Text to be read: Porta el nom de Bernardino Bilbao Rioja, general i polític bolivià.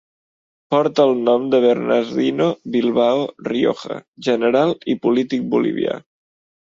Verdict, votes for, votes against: accepted, 2, 0